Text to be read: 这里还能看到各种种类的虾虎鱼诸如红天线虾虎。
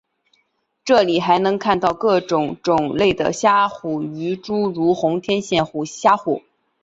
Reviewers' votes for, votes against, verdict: 4, 0, accepted